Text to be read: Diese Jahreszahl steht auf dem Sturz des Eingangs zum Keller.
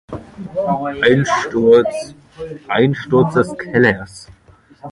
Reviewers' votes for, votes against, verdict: 0, 2, rejected